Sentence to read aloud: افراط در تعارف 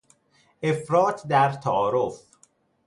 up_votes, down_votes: 2, 0